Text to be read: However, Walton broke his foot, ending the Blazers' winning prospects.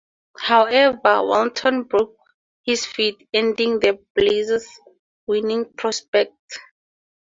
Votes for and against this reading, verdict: 0, 2, rejected